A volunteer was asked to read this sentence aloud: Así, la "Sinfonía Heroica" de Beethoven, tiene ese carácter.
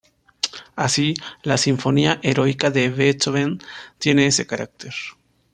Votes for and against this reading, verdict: 1, 2, rejected